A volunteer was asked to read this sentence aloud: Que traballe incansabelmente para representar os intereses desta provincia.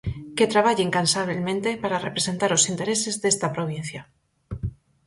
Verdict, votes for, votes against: accepted, 4, 0